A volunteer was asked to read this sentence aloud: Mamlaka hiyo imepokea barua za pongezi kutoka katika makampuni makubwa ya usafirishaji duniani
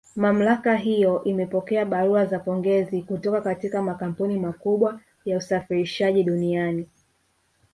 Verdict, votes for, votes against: accepted, 2, 0